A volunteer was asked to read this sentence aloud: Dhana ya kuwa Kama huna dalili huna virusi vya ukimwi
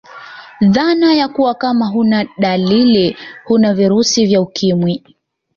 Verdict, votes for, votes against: accepted, 2, 0